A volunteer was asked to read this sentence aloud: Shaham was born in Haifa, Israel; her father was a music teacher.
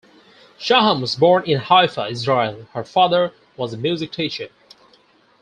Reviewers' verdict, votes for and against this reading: accepted, 4, 0